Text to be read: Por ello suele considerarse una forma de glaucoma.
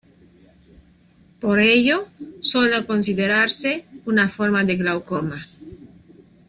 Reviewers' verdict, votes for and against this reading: rejected, 0, 2